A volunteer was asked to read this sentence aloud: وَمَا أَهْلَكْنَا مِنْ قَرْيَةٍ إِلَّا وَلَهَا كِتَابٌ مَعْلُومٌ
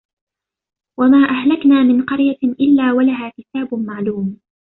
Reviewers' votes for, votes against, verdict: 2, 1, accepted